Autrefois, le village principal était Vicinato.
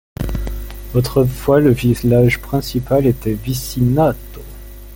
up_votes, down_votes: 0, 2